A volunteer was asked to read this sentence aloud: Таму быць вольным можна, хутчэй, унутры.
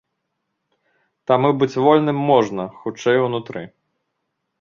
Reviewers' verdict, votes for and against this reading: accepted, 2, 0